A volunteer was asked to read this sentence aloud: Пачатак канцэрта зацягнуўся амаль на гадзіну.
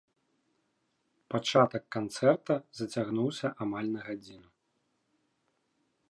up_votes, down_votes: 3, 0